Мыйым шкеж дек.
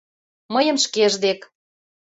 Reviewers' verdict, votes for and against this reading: accepted, 2, 0